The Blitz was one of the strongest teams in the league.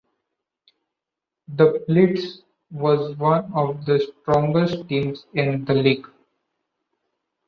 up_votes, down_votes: 2, 0